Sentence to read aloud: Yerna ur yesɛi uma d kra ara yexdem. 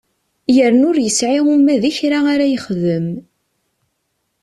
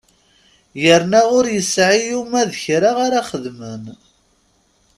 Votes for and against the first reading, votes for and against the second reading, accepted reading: 2, 0, 0, 2, first